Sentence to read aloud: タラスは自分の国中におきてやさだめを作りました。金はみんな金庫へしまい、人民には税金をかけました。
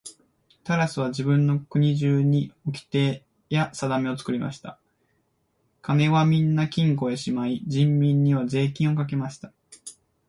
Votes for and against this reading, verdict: 2, 0, accepted